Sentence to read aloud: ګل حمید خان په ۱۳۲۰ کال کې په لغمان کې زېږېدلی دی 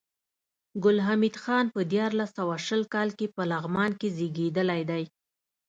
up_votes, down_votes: 0, 2